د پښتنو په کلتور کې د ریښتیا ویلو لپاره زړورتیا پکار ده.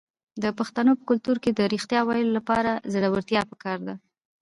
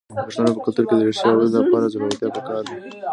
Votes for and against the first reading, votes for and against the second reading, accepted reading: 2, 0, 1, 2, first